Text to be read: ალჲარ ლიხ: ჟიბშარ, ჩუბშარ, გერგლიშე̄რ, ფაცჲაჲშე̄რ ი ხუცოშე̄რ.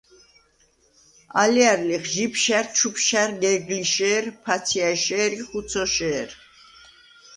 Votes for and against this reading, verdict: 0, 2, rejected